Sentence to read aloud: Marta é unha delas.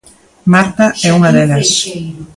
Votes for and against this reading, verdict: 0, 2, rejected